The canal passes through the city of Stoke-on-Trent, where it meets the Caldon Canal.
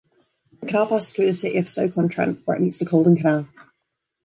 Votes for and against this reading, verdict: 2, 1, accepted